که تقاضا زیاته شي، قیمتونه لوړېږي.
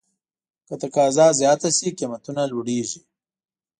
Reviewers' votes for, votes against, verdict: 2, 0, accepted